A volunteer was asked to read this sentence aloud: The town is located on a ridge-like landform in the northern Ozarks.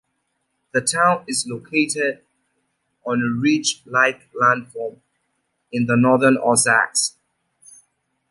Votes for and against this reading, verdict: 2, 0, accepted